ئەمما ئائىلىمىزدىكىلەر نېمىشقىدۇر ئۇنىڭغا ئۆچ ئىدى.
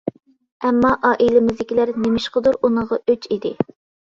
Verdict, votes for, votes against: accepted, 2, 0